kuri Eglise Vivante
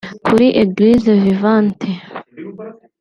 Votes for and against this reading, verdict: 2, 0, accepted